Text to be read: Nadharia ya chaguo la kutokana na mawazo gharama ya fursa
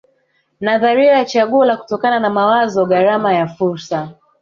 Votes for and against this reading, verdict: 3, 0, accepted